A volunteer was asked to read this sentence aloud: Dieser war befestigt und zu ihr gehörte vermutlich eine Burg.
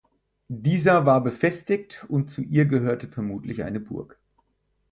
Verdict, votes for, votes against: accepted, 4, 0